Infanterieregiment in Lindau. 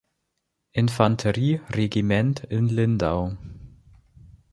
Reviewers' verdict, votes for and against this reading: accepted, 3, 0